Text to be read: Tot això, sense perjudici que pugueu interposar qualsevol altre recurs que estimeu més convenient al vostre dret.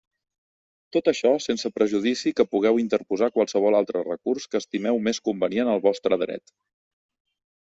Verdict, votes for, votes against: rejected, 1, 2